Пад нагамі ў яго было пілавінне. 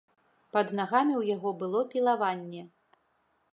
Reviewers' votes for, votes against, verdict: 2, 0, accepted